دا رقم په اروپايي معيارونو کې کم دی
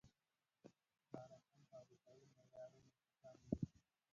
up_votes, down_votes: 1, 2